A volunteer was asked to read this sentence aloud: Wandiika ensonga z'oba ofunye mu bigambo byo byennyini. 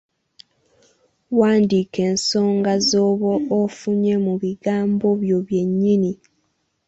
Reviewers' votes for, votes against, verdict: 2, 1, accepted